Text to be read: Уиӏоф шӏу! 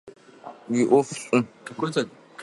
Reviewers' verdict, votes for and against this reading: rejected, 1, 2